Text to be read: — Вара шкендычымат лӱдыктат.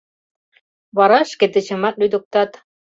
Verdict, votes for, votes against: rejected, 1, 2